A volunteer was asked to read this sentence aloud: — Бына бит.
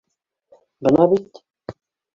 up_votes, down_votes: 2, 1